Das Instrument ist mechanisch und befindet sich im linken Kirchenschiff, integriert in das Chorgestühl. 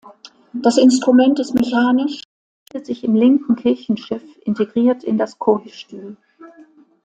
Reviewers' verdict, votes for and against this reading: rejected, 1, 2